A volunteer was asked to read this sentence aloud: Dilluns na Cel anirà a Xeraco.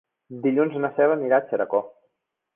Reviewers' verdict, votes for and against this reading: rejected, 1, 2